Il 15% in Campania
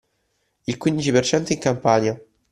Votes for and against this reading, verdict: 0, 2, rejected